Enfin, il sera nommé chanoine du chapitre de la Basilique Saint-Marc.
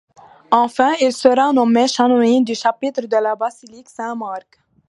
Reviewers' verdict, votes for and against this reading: rejected, 1, 2